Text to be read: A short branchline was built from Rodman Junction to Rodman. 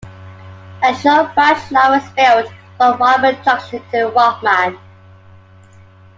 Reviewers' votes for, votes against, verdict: 0, 2, rejected